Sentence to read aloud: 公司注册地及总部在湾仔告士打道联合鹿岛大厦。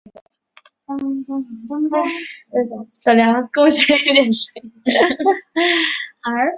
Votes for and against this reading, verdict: 0, 2, rejected